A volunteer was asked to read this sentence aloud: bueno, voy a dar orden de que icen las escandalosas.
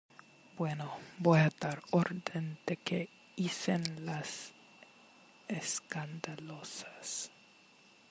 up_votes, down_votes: 2, 0